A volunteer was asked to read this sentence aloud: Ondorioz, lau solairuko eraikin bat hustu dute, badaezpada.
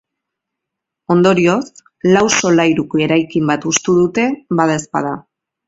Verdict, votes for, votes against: accepted, 2, 0